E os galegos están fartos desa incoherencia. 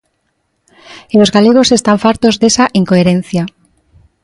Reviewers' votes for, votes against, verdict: 3, 0, accepted